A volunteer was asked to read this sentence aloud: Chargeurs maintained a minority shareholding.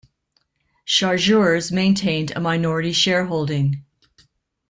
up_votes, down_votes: 2, 0